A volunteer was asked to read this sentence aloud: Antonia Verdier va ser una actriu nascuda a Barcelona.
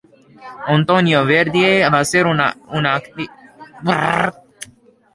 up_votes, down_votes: 0, 2